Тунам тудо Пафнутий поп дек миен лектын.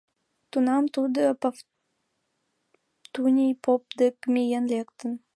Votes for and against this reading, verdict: 1, 2, rejected